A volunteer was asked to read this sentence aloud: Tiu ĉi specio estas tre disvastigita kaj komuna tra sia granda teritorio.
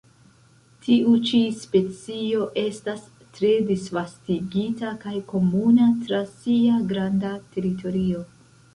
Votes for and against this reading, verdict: 0, 2, rejected